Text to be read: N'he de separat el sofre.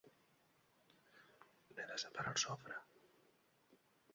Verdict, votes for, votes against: rejected, 0, 2